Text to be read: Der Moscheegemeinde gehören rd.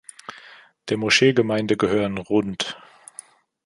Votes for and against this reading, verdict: 2, 1, accepted